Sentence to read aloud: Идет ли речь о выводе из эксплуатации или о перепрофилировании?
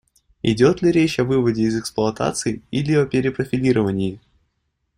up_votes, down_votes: 2, 0